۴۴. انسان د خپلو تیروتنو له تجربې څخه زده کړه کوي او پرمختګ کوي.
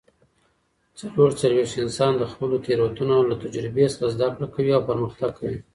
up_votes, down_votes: 0, 2